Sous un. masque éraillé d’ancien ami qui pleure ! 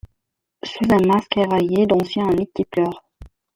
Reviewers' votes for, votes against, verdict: 0, 2, rejected